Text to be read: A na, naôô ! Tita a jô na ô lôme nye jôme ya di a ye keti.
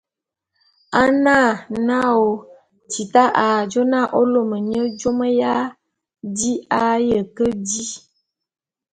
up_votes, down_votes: 0, 2